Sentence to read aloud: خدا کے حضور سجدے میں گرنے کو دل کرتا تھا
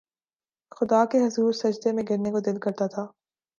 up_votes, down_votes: 4, 0